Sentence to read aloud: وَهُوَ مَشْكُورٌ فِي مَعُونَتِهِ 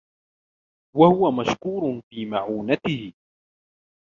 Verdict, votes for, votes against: rejected, 0, 2